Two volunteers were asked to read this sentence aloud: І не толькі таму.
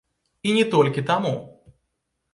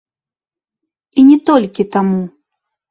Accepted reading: first